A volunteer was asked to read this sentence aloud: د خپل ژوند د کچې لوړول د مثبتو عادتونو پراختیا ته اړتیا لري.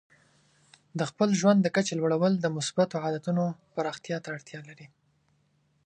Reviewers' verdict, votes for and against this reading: accepted, 2, 0